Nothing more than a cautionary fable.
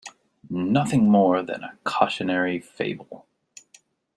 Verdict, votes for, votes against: accepted, 2, 0